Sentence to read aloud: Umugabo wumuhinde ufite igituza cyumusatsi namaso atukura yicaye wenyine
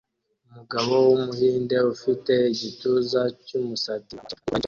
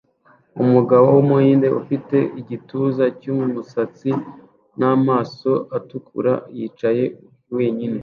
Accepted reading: second